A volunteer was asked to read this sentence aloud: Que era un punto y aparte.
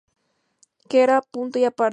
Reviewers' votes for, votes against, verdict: 0, 4, rejected